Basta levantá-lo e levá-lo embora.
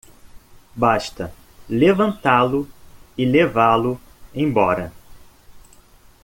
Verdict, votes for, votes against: accepted, 2, 0